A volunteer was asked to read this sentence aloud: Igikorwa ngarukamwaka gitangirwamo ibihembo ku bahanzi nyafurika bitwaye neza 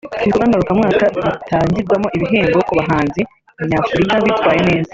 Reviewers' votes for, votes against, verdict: 0, 2, rejected